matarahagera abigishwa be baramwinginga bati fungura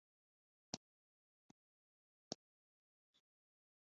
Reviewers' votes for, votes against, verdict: 2, 1, accepted